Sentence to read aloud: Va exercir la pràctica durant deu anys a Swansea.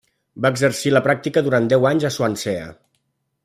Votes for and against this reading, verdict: 1, 2, rejected